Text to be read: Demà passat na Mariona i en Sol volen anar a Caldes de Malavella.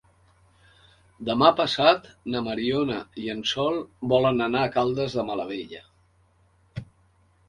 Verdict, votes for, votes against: accepted, 3, 0